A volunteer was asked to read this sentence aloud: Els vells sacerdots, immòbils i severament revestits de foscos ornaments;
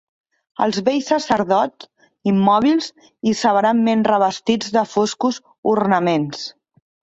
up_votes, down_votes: 2, 3